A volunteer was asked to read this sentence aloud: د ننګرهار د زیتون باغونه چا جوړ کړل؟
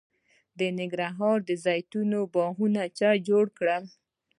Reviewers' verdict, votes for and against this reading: accepted, 2, 0